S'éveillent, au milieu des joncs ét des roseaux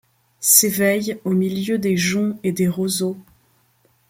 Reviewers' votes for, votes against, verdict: 2, 0, accepted